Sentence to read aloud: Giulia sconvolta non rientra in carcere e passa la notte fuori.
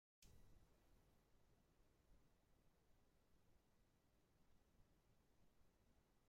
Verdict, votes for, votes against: rejected, 0, 2